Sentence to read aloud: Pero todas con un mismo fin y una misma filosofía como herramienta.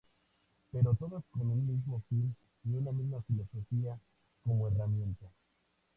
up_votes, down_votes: 2, 0